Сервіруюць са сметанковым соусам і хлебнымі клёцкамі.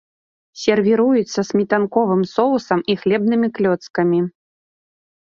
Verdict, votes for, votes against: accepted, 2, 0